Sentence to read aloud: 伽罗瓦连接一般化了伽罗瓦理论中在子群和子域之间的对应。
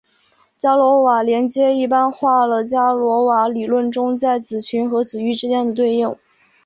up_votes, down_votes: 3, 1